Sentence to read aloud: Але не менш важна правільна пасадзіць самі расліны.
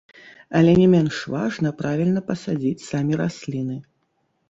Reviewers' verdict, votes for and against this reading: rejected, 1, 2